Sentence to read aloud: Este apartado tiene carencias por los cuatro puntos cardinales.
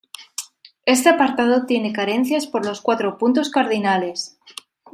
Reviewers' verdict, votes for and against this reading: accepted, 2, 0